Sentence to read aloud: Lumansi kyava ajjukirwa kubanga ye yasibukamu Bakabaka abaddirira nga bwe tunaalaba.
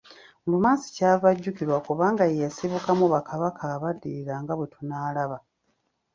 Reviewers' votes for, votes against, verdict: 2, 0, accepted